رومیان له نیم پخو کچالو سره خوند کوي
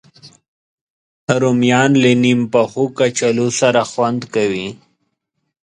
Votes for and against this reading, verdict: 2, 0, accepted